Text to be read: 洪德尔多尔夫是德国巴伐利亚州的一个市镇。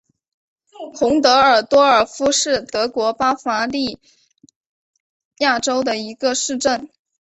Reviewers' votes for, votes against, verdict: 2, 1, accepted